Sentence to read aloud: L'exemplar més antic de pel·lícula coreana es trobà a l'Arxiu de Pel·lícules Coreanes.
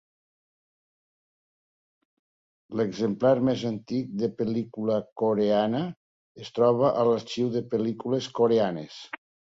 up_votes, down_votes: 1, 2